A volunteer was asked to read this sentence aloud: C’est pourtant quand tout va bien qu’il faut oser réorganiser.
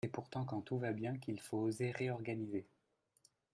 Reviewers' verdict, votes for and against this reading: accepted, 2, 0